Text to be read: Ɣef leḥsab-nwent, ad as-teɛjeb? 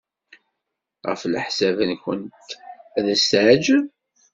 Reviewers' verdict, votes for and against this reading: rejected, 1, 2